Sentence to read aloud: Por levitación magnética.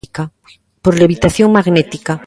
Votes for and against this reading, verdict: 1, 2, rejected